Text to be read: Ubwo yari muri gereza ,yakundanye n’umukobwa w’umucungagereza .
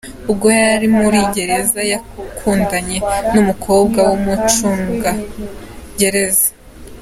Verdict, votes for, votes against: accepted, 3, 0